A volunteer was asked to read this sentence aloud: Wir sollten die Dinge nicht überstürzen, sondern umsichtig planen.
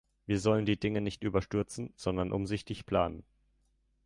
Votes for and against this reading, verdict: 1, 2, rejected